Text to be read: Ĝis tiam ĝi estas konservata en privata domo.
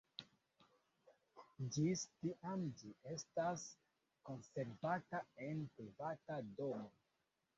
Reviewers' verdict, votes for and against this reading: rejected, 1, 2